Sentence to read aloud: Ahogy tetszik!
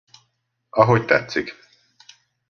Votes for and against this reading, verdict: 2, 0, accepted